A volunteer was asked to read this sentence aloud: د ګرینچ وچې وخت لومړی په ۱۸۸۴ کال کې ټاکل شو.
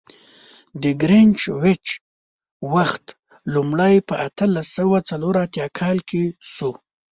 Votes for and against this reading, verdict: 0, 2, rejected